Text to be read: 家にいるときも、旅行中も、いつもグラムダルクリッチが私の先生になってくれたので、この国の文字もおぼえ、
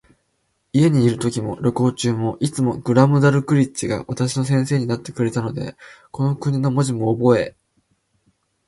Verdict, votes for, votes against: accepted, 2, 0